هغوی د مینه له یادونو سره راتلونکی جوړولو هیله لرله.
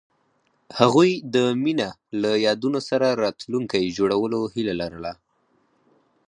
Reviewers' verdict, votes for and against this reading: accepted, 4, 2